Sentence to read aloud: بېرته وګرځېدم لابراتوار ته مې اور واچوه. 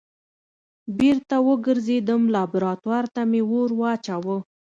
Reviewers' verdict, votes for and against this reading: accepted, 2, 0